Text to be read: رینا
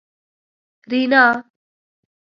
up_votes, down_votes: 1, 2